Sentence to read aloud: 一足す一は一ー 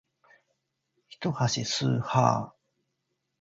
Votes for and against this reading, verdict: 3, 1, accepted